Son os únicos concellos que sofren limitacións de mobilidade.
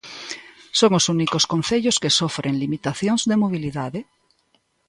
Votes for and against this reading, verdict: 2, 0, accepted